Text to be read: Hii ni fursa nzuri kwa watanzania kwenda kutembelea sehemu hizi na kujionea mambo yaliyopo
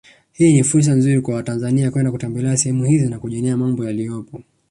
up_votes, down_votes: 3, 1